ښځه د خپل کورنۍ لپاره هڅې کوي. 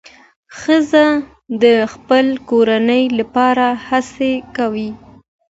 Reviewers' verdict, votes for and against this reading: accepted, 2, 0